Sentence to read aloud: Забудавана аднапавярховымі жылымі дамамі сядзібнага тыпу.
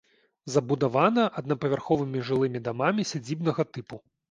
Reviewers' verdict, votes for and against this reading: accepted, 2, 0